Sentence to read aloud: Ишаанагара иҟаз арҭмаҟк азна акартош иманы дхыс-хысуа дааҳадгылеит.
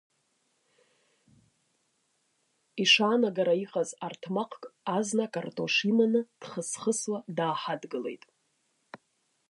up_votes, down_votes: 0, 2